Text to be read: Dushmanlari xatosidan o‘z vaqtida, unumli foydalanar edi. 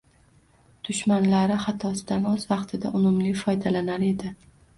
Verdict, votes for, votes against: rejected, 1, 2